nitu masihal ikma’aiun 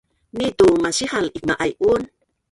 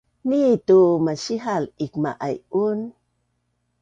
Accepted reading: second